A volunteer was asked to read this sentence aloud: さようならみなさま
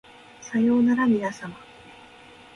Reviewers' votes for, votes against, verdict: 1, 2, rejected